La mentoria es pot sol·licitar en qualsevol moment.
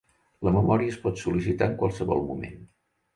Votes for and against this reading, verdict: 1, 2, rejected